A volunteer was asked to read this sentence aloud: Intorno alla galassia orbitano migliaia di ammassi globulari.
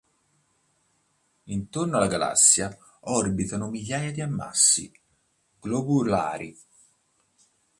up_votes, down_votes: 2, 0